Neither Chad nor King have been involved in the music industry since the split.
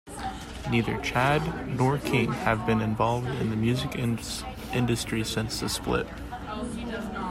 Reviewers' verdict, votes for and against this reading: rejected, 0, 2